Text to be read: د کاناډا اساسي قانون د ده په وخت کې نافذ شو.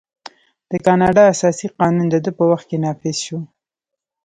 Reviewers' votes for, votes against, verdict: 2, 0, accepted